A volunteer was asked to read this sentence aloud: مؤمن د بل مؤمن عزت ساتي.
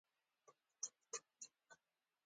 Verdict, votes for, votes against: rejected, 1, 2